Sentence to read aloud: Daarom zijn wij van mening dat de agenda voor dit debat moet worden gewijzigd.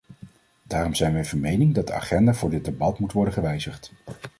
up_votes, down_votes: 2, 0